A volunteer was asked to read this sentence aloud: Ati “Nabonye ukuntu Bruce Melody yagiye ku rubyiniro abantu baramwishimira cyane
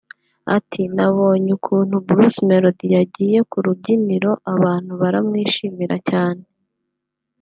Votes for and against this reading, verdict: 3, 1, accepted